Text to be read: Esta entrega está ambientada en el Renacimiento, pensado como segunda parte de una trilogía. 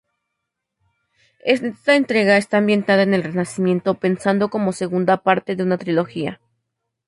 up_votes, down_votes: 0, 4